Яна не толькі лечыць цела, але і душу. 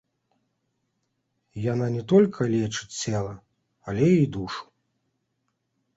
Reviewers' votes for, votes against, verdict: 0, 2, rejected